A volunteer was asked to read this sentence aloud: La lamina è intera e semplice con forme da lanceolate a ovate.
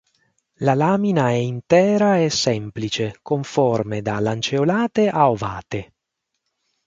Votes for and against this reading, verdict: 6, 0, accepted